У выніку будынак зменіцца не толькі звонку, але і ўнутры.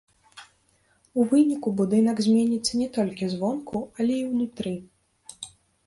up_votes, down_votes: 0, 2